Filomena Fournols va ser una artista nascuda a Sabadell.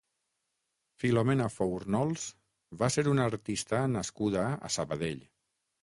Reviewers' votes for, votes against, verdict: 3, 6, rejected